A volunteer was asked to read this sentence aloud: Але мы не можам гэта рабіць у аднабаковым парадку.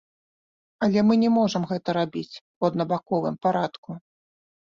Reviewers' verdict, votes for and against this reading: accepted, 2, 0